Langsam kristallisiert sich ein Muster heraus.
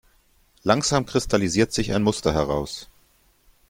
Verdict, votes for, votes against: accepted, 2, 0